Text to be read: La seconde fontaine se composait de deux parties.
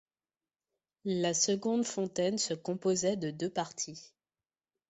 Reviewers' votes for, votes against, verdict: 2, 0, accepted